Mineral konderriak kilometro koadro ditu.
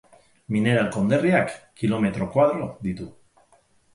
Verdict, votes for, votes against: accepted, 6, 0